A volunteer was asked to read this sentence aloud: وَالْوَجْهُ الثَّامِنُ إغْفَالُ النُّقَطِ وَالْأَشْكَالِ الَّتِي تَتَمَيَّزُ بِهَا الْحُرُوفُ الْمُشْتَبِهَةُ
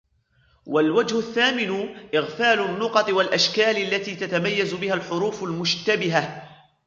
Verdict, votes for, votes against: accepted, 2, 0